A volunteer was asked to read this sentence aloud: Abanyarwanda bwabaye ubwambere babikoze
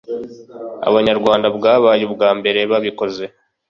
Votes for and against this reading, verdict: 2, 0, accepted